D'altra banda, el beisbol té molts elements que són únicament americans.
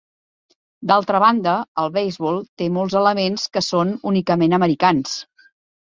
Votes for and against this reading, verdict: 0, 2, rejected